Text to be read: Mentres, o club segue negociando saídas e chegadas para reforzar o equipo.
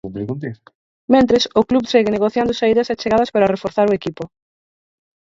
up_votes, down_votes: 0, 4